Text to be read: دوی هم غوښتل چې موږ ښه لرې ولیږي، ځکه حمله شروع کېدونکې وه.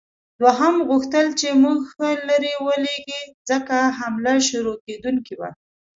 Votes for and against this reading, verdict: 1, 2, rejected